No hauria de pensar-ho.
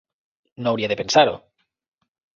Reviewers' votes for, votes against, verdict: 3, 0, accepted